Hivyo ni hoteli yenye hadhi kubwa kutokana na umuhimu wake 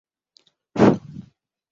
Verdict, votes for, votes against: rejected, 0, 10